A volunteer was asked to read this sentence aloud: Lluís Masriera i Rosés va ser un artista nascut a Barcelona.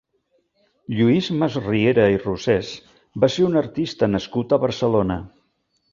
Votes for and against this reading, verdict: 3, 0, accepted